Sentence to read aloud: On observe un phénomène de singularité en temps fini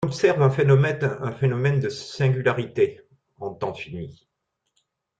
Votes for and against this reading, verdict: 0, 2, rejected